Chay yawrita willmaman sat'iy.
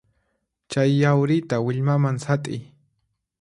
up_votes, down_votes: 4, 0